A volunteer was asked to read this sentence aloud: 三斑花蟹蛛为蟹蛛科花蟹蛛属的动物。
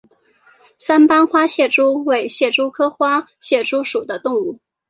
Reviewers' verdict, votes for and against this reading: accepted, 4, 1